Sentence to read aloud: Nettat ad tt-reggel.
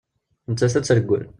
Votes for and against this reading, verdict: 3, 0, accepted